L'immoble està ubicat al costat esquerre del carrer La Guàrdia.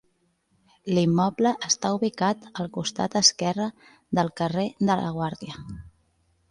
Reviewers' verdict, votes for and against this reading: rejected, 1, 2